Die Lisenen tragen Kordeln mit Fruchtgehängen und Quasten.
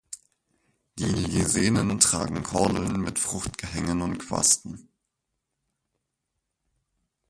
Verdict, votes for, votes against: rejected, 2, 4